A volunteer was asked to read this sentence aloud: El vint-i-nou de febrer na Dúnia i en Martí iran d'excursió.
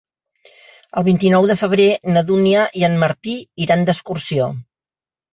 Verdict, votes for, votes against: accepted, 3, 0